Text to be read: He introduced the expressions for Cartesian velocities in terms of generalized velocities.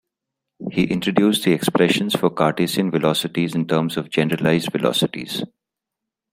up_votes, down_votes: 1, 2